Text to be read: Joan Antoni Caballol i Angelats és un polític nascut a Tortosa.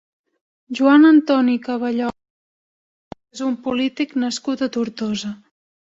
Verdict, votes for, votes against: rejected, 0, 2